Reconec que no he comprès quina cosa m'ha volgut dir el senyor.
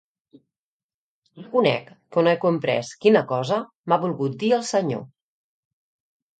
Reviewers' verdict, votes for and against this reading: rejected, 0, 2